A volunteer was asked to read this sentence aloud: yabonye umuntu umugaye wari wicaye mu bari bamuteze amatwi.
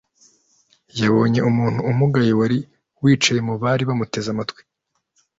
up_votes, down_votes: 2, 0